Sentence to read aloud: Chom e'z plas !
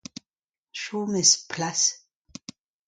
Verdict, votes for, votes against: accepted, 2, 0